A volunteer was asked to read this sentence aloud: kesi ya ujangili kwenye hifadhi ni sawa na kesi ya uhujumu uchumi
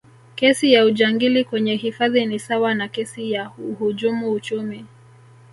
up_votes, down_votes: 2, 0